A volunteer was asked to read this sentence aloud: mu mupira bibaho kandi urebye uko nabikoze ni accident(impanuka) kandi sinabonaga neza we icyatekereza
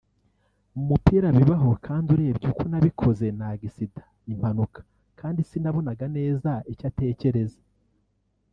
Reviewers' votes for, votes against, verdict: 0, 2, rejected